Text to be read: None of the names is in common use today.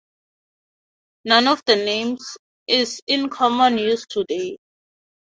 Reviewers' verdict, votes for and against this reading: rejected, 0, 2